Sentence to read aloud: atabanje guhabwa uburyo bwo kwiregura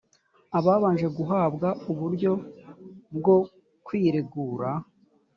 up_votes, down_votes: 1, 2